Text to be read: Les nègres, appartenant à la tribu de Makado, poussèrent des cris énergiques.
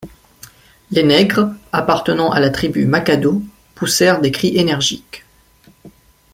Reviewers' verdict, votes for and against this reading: rejected, 1, 2